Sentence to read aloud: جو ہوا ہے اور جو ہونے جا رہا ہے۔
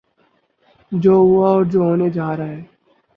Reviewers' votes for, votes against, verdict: 4, 2, accepted